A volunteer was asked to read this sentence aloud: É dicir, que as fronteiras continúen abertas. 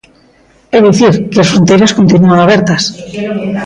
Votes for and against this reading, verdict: 0, 2, rejected